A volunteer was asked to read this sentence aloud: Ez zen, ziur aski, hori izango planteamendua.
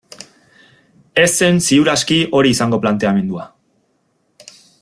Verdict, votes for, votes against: accepted, 2, 0